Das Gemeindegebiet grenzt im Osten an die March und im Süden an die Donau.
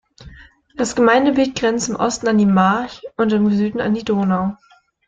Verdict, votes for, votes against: rejected, 1, 2